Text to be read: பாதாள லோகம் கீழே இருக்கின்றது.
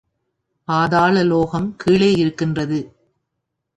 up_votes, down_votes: 3, 0